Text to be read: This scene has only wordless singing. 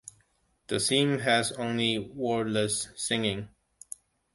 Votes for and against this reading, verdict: 1, 2, rejected